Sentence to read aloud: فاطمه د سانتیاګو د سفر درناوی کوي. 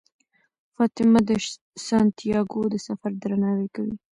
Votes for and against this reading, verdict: 1, 2, rejected